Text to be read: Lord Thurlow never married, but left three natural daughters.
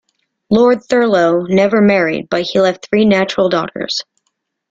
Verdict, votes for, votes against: rejected, 0, 2